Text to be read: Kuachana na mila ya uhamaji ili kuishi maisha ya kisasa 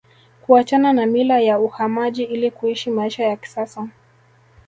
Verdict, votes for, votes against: rejected, 1, 2